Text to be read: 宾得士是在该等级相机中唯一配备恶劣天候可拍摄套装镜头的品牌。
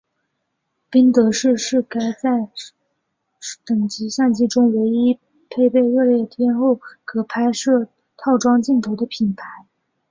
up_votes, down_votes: 3, 1